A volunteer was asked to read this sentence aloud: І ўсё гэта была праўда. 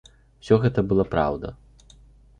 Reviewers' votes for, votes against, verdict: 2, 1, accepted